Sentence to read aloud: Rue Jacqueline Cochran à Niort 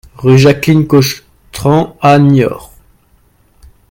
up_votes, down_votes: 0, 2